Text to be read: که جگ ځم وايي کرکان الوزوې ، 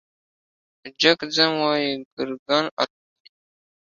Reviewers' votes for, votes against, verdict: 2, 1, accepted